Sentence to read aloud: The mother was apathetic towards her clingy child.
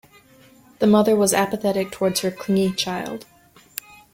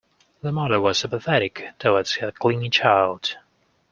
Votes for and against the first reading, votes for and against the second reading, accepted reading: 2, 0, 1, 2, first